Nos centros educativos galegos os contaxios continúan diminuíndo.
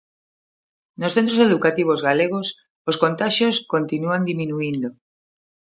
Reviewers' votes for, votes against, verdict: 2, 0, accepted